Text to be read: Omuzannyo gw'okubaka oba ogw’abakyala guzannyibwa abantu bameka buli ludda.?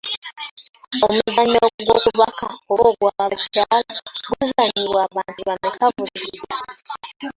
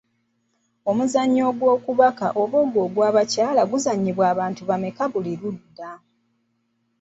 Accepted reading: second